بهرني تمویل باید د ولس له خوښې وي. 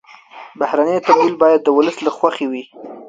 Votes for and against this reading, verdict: 0, 2, rejected